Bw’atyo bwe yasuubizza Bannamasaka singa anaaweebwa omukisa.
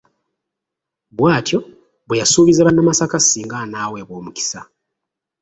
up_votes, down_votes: 0, 2